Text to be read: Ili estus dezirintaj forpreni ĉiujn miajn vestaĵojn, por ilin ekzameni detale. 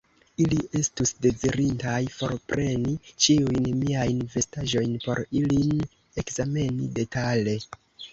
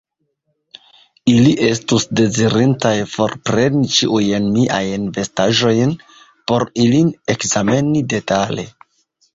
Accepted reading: first